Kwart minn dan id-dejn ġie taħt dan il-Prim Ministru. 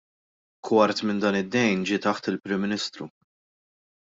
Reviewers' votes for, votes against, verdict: 0, 2, rejected